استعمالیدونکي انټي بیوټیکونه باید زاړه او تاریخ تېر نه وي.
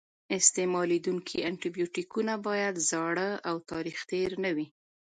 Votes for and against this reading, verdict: 2, 0, accepted